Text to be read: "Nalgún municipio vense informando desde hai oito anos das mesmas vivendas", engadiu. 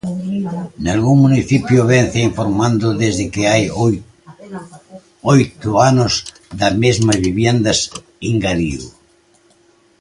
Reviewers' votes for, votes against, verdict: 0, 2, rejected